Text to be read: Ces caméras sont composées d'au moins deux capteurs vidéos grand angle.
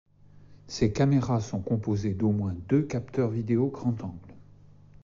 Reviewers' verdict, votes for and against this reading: accepted, 2, 0